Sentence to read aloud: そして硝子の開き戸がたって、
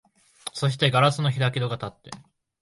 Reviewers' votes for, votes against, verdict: 2, 0, accepted